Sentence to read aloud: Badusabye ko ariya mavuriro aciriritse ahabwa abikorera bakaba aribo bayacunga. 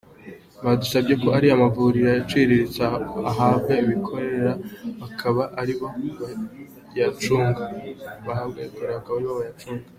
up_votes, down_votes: 0, 2